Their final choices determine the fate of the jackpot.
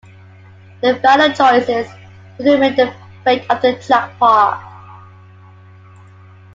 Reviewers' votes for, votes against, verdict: 0, 2, rejected